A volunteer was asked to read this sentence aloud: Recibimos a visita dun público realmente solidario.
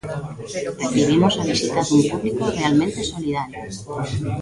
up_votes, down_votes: 0, 2